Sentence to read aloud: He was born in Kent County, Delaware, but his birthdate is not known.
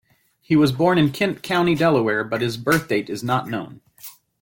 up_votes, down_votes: 0, 2